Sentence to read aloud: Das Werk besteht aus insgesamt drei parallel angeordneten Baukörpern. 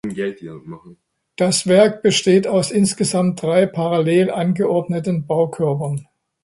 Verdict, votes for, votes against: rejected, 0, 2